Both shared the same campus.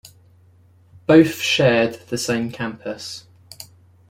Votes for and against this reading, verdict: 2, 0, accepted